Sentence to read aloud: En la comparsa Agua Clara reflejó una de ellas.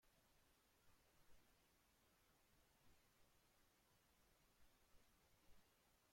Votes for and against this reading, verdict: 0, 2, rejected